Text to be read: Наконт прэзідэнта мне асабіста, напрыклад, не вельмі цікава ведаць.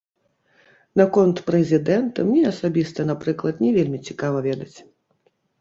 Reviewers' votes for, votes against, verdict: 1, 2, rejected